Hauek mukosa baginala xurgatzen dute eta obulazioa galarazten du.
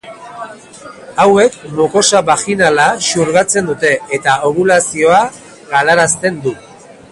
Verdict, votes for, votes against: rejected, 0, 2